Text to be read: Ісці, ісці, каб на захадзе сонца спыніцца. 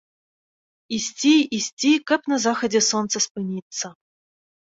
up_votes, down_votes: 2, 0